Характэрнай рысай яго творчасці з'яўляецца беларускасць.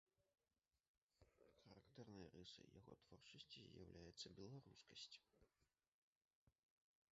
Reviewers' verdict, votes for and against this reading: rejected, 0, 2